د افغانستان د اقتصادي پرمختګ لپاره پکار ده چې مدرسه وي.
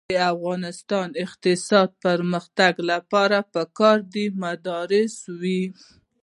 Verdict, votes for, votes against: rejected, 1, 2